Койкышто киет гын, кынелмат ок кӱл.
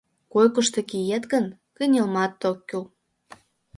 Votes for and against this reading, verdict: 2, 0, accepted